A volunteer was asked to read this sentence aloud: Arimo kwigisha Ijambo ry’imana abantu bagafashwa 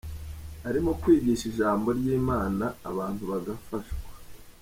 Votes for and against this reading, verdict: 3, 0, accepted